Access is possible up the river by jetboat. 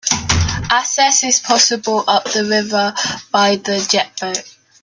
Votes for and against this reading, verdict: 1, 2, rejected